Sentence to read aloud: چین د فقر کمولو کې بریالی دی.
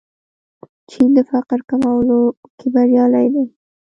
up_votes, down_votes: 2, 0